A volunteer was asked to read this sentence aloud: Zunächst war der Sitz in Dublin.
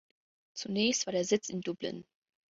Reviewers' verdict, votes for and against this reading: rejected, 1, 2